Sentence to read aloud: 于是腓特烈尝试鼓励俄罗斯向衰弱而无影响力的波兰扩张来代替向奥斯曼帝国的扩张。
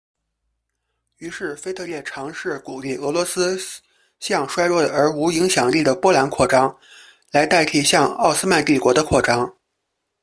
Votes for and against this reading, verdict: 0, 2, rejected